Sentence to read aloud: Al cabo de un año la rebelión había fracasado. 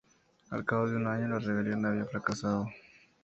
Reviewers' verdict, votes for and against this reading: accepted, 4, 0